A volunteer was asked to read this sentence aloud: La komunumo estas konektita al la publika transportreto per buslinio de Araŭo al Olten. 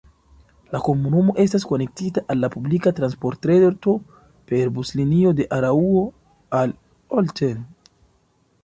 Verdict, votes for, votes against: accepted, 2, 0